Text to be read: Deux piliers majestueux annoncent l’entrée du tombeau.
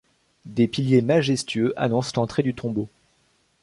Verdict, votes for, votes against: rejected, 0, 2